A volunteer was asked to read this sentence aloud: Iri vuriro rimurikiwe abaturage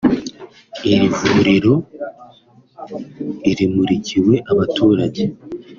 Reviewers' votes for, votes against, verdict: 2, 1, accepted